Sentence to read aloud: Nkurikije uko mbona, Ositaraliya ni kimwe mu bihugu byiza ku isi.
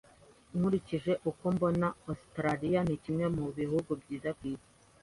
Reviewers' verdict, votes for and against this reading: accepted, 2, 0